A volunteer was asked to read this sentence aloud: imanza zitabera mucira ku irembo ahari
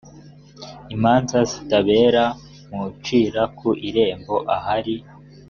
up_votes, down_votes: 2, 1